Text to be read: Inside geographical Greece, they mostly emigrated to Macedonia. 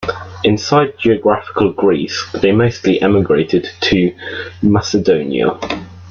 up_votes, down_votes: 2, 0